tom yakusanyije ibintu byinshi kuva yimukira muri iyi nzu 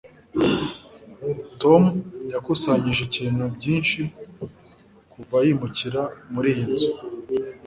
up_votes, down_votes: 1, 2